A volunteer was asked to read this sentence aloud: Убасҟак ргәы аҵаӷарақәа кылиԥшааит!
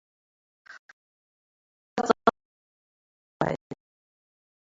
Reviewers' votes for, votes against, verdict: 0, 2, rejected